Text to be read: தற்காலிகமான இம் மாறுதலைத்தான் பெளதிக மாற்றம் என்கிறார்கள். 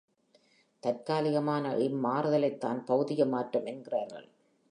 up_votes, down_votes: 2, 0